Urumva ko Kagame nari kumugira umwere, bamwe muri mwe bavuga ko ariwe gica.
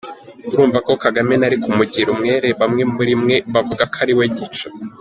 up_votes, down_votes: 3, 0